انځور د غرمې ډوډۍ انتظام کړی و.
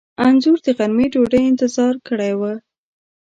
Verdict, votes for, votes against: rejected, 1, 2